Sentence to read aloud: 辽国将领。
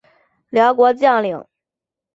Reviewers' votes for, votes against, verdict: 2, 0, accepted